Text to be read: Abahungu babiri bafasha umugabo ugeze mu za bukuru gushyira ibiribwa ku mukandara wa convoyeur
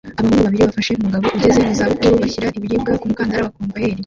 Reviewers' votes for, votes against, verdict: 0, 2, rejected